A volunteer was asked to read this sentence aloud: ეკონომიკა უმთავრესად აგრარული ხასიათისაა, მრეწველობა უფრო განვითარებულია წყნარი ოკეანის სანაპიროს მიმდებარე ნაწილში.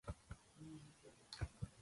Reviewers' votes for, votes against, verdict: 0, 2, rejected